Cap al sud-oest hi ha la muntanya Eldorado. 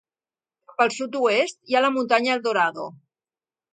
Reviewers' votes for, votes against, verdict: 0, 2, rejected